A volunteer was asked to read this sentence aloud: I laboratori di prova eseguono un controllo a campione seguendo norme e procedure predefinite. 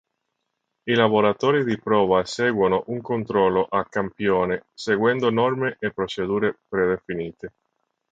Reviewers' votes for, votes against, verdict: 4, 1, accepted